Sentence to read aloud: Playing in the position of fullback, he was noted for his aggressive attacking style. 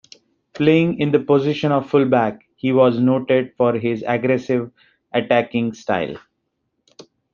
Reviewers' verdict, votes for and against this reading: accepted, 2, 1